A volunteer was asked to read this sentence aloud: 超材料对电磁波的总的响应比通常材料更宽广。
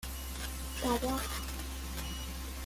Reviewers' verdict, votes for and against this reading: rejected, 0, 2